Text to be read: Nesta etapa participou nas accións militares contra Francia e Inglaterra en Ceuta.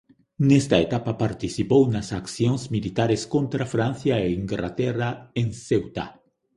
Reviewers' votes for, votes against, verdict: 1, 2, rejected